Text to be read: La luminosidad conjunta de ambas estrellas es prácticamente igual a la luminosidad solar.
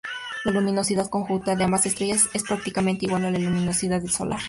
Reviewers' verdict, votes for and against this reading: rejected, 2, 2